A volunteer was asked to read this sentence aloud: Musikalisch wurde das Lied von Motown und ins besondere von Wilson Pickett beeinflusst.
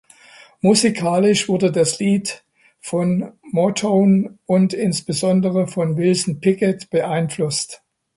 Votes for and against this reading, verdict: 2, 0, accepted